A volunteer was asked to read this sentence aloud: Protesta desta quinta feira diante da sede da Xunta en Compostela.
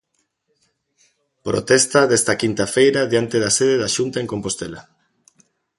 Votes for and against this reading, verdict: 2, 0, accepted